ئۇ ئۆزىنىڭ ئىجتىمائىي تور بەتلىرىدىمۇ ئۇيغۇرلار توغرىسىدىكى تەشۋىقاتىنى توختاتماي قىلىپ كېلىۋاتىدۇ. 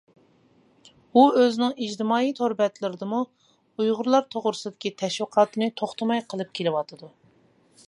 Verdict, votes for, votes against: rejected, 0, 2